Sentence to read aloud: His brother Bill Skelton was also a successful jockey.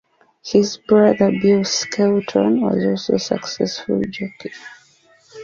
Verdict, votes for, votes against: accepted, 2, 0